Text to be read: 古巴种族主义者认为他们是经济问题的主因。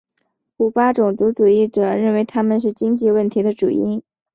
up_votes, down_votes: 3, 0